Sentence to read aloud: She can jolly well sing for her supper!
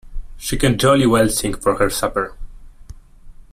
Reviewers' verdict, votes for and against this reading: accepted, 2, 0